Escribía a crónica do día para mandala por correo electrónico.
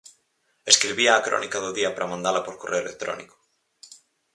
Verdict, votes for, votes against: accepted, 4, 0